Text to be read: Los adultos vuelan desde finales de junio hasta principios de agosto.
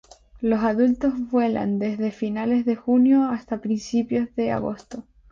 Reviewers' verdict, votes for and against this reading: accepted, 2, 0